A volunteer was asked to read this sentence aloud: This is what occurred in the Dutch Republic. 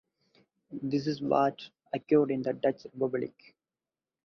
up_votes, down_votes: 4, 0